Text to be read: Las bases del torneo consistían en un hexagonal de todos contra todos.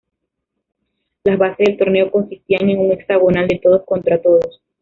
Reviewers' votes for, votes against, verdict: 2, 0, accepted